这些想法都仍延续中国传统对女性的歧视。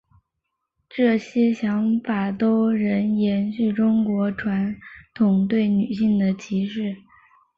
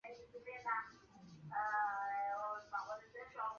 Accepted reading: first